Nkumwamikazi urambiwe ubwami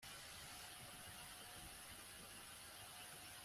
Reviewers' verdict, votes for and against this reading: rejected, 1, 2